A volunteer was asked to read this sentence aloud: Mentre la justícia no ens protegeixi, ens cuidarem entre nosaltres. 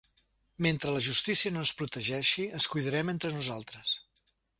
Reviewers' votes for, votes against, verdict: 3, 0, accepted